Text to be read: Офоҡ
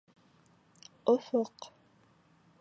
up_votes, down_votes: 2, 0